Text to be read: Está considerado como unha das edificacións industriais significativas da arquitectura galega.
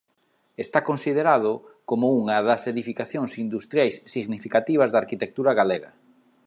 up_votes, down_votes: 2, 0